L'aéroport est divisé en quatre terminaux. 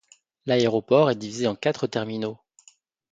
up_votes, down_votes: 2, 0